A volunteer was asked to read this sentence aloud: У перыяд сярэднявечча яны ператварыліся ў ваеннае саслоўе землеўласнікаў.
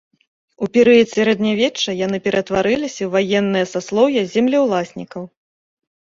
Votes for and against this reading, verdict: 2, 0, accepted